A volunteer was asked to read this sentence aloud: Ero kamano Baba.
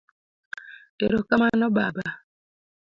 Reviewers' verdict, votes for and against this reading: accepted, 2, 0